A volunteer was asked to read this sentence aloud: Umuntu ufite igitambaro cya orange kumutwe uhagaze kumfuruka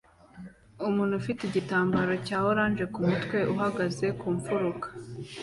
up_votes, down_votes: 2, 0